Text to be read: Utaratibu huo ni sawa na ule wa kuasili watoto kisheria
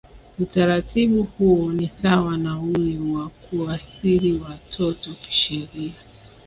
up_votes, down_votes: 5, 0